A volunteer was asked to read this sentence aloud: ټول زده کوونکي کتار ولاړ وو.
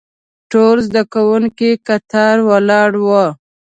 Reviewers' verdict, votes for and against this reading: accepted, 2, 0